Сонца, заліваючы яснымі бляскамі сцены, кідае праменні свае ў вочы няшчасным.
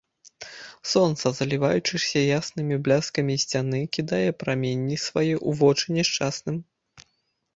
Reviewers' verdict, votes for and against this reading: rejected, 0, 2